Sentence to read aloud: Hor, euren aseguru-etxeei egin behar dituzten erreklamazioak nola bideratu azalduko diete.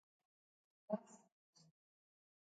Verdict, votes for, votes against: rejected, 0, 3